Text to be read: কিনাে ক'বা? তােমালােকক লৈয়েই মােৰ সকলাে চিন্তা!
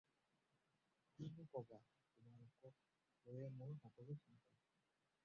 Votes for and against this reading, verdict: 0, 4, rejected